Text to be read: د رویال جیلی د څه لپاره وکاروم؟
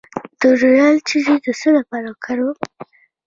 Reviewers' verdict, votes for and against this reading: accepted, 2, 0